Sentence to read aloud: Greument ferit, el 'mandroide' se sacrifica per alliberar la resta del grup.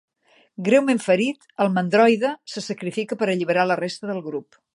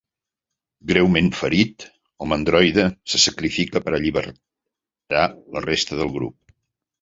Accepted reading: first